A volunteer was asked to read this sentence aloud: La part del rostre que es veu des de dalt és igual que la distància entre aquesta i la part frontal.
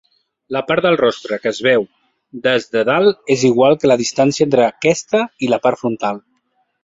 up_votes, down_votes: 1, 2